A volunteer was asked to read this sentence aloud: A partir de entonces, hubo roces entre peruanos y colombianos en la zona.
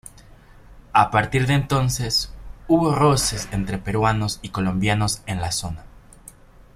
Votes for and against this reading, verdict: 2, 0, accepted